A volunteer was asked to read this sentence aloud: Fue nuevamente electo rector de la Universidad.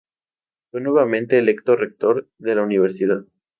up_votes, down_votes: 2, 0